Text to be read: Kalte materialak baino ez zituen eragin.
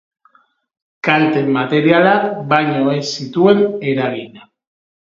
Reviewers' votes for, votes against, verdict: 2, 2, rejected